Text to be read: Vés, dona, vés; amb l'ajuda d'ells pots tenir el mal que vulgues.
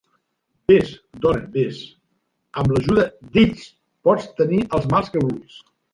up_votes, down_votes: 1, 3